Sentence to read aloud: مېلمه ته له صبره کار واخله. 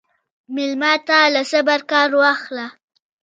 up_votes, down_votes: 1, 2